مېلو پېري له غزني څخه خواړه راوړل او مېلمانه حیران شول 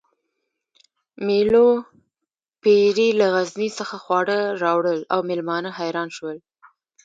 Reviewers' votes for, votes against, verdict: 1, 2, rejected